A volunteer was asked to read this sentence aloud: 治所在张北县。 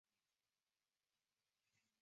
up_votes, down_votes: 0, 2